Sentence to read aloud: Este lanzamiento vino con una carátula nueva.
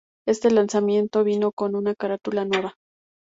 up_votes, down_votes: 2, 0